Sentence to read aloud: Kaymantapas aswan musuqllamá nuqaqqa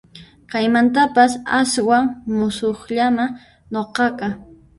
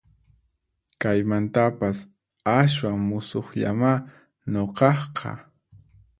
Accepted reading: second